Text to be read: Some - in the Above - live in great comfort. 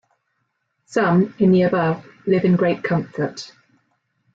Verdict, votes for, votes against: accepted, 2, 0